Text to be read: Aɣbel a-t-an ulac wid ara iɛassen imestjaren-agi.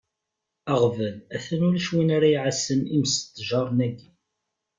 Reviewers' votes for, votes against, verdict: 0, 2, rejected